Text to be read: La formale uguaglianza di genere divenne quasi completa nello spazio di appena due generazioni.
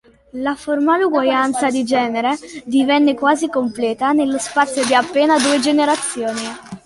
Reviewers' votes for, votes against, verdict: 1, 2, rejected